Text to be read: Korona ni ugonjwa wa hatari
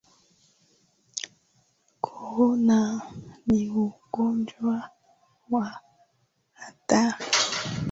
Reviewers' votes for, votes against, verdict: 17, 0, accepted